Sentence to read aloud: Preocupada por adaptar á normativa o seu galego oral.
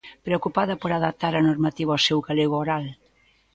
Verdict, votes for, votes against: accepted, 2, 0